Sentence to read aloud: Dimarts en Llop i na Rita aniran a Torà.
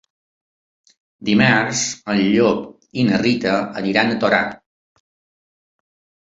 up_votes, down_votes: 3, 0